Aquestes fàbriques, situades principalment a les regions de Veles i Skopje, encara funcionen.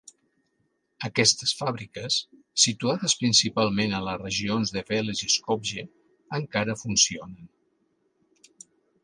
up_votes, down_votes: 2, 1